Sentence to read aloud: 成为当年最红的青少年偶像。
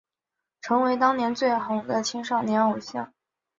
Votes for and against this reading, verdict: 5, 1, accepted